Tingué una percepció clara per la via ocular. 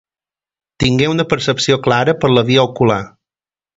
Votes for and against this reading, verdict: 2, 0, accepted